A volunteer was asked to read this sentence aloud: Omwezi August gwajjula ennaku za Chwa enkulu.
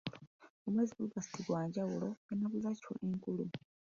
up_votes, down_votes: 1, 2